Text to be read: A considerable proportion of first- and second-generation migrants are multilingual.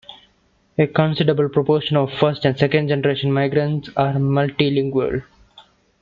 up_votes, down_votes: 2, 0